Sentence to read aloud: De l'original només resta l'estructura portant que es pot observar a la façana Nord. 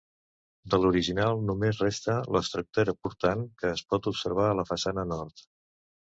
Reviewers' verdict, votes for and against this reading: rejected, 1, 2